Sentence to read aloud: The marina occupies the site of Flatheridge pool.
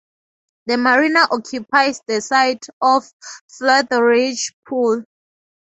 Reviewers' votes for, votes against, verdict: 2, 0, accepted